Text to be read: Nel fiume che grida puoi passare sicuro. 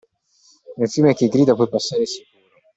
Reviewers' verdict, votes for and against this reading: rejected, 1, 2